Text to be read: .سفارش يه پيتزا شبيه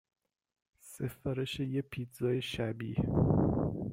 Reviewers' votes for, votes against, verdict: 1, 2, rejected